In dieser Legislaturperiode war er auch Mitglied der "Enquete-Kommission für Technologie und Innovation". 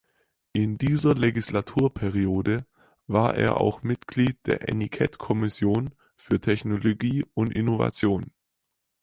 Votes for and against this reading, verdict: 4, 6, rejected